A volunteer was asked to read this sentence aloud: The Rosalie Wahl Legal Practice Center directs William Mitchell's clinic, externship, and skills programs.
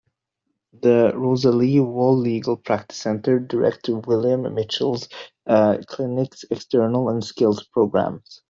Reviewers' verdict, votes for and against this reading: rejected, 0, 2